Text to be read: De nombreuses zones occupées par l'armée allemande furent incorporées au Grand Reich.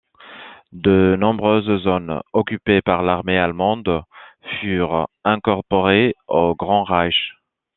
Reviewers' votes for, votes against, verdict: 2, 0, accepted